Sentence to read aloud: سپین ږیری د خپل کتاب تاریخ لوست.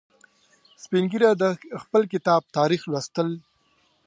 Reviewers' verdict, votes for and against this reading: rejected, 1, 2